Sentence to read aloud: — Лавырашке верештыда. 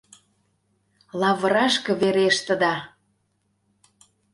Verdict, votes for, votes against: accepted, 2, 0